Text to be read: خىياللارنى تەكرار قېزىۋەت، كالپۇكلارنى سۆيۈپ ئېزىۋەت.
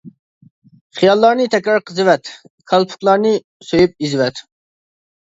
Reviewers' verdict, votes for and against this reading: accepted, 2, 0